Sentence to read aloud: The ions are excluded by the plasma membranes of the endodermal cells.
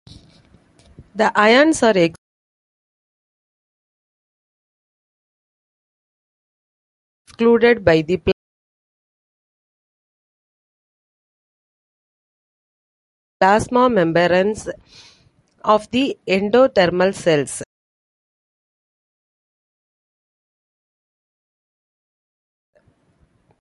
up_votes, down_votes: 0, 2